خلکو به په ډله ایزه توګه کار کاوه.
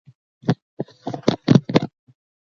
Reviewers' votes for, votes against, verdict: 1, 2, rejected